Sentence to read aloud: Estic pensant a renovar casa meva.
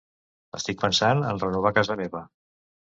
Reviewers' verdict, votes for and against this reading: rejected, 0, 2